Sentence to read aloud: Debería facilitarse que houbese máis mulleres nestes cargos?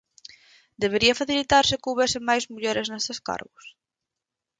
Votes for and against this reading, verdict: 2, 4, rejected